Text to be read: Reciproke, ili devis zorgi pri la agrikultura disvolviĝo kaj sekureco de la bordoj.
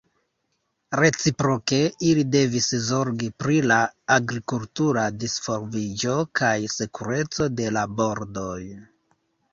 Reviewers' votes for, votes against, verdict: 1, 2, rejected